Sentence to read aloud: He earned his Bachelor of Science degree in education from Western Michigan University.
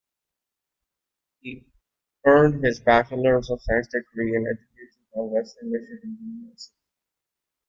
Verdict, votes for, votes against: rejected, 0, 2